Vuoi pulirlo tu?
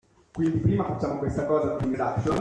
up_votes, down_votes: 0, 2